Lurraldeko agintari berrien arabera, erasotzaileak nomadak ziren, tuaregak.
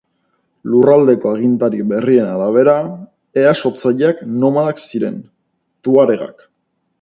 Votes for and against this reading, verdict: 2, 0, accepted